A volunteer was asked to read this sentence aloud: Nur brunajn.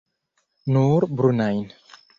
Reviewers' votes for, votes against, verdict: 2, 0, accepted